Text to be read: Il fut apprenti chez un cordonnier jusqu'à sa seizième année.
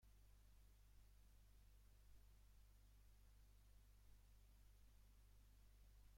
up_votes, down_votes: 0, 2